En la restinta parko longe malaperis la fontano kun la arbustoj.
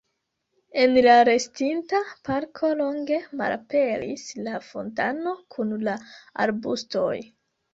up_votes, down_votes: 2, 0